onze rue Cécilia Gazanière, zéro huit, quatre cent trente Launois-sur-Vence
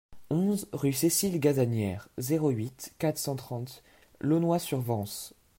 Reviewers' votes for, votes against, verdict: 1, 2, rejected